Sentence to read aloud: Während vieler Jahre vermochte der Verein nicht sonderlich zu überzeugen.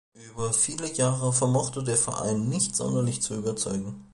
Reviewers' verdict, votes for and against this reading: rejected, 0, 2